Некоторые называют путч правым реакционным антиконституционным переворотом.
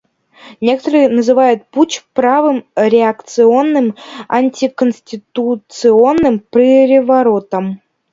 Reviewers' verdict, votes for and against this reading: accepted, 2, 1